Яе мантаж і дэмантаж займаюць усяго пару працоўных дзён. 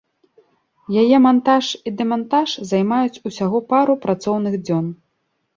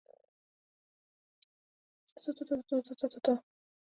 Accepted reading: first